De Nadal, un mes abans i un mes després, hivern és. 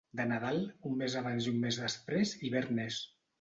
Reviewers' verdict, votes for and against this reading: accepted, 2, 0